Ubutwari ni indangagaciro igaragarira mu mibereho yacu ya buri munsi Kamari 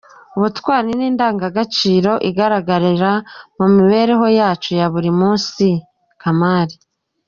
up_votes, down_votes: 0, 2